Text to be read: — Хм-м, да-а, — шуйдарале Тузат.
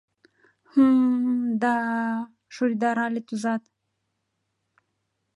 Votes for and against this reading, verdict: 2, 0, accepted